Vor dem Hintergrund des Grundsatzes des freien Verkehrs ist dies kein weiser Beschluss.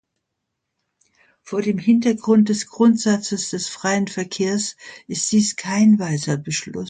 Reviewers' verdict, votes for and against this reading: accepted, 2, 0